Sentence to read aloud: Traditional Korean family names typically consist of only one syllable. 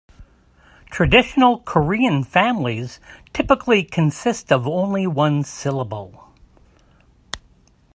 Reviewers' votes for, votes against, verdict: 0, 3, rejected